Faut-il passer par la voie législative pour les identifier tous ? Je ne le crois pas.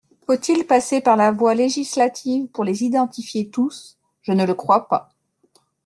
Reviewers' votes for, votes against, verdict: 2, 0, accepted